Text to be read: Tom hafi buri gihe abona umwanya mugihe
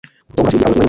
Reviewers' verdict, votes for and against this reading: rejected, 0, 2